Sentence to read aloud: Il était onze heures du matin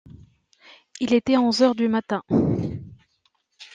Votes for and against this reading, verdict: 2, 1, accepted